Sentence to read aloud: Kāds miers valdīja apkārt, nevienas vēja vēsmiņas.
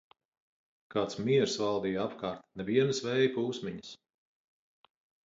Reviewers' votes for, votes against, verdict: 2, 4, rejected